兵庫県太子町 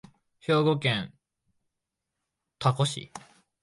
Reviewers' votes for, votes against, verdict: 0, 4, rejected